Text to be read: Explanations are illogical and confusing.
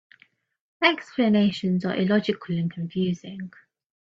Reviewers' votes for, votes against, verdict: 1, 2, rejected